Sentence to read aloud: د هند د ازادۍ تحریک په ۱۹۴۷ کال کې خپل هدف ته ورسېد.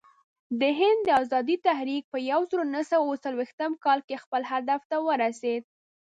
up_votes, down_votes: 0, 2